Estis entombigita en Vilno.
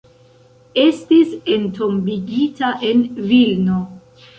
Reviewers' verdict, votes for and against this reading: accepted, 2, 0